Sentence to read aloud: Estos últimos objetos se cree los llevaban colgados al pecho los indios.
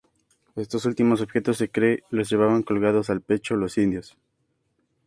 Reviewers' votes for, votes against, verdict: 2, 0, accepted